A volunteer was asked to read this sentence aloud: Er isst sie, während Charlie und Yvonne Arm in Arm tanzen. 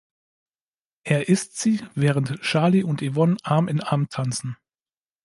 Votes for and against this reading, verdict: 2, 0, accepted